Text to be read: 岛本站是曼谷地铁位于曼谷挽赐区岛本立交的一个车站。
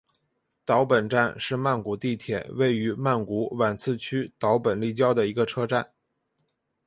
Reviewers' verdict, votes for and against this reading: accepted, 8, 1